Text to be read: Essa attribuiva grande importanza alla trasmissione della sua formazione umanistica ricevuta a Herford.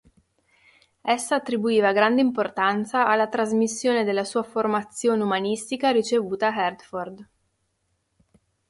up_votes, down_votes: 3, 0